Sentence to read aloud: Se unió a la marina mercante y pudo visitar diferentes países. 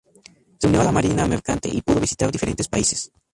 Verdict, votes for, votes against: rejected, 0, 2